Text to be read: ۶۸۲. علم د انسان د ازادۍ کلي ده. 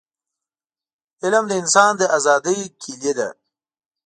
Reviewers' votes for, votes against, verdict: 0, 2, rejected